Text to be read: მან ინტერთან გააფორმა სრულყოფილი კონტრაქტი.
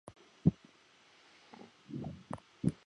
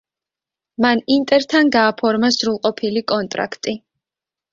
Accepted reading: second